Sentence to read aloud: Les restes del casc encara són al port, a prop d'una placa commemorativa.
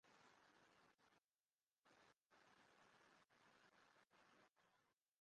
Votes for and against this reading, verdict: 0, 2, rejected